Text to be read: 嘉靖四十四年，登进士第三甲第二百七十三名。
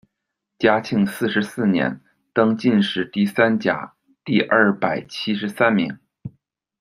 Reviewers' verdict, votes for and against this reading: accepted, 2, 0